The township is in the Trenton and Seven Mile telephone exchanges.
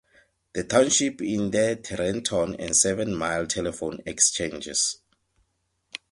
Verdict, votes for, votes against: rejected, 0, 2